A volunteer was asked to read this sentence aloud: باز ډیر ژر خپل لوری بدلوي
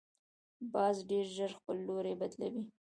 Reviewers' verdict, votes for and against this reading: accepted, 2, 1